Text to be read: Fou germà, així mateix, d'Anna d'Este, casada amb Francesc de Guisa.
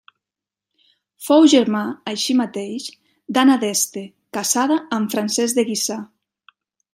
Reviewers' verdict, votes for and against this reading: rejected, 0, 2